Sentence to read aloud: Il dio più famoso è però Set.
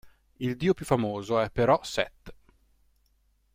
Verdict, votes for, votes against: accepted, 2, 0